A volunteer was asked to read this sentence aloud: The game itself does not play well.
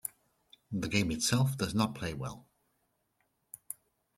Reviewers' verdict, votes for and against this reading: accepted, 2, 0